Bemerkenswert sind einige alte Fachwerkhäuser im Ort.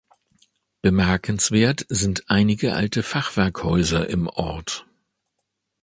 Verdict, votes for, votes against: accepted, 3, 0